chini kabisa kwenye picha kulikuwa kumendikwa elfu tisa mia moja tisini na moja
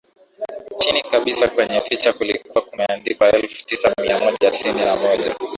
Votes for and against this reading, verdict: 0, 2, rejected